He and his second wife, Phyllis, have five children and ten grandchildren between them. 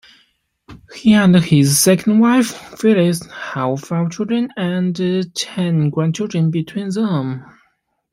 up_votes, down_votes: 2, 1